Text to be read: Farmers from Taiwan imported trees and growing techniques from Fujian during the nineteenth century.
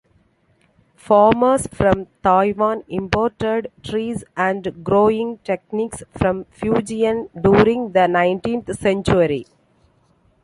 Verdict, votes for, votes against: accepted, 2, 0